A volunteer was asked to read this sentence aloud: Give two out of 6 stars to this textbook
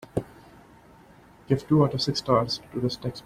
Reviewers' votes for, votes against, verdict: 0, 2, rejected